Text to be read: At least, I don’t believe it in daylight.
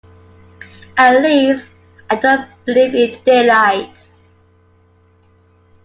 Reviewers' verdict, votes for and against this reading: rejected, 0, 2